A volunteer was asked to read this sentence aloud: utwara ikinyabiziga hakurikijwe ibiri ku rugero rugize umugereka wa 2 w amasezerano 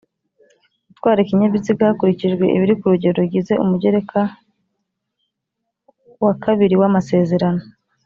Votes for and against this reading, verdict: 0, 2, rejected